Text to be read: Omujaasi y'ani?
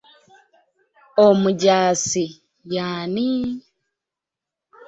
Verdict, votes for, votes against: accepted, 2, 0